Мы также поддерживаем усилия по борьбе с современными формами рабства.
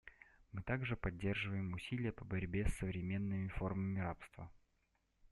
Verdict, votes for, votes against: accepted, 2, 0